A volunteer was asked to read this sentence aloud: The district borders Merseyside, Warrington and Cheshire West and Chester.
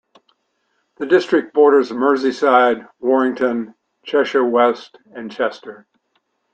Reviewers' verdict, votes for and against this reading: rejected, 1, 3